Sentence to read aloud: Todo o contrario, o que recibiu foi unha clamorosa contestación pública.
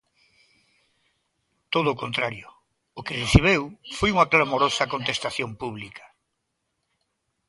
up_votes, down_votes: 1, 2